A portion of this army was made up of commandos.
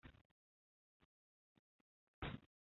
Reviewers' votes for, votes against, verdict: 0, 2, rejected